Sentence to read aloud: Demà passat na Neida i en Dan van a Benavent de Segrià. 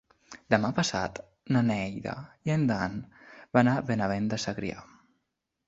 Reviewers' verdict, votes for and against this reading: accepted, 2, 0